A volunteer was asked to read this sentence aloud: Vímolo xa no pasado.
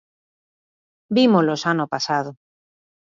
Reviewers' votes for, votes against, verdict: 2, 0, accepted